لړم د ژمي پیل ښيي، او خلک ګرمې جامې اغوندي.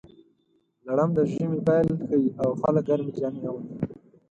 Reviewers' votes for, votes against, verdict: 2, 4, rejected